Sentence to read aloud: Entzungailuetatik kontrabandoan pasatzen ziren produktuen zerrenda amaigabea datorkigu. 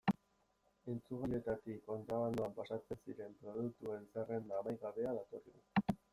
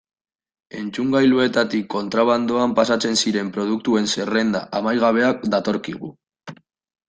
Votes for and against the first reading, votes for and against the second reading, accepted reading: 0, 2, 2, 0, second